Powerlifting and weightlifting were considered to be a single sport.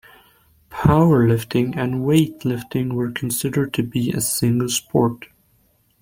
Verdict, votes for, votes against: accepted, 2, 1